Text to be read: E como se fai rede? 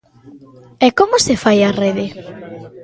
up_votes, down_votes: 0, 2